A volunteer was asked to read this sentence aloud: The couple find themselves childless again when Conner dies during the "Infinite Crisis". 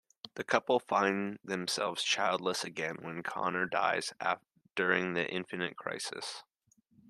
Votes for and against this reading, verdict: 1, 2, rejected